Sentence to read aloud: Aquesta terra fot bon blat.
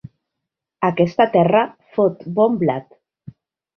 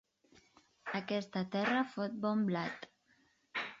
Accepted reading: first